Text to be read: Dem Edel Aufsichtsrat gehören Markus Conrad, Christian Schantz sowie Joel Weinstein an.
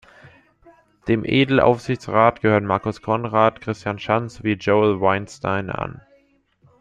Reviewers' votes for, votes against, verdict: 0, 2, rejected